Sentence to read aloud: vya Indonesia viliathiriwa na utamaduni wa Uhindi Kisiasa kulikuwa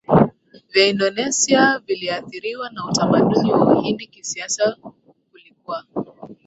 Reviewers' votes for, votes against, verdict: 0, 2, rejected